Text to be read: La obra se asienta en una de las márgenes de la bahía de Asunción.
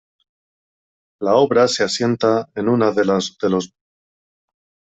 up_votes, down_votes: 0, 2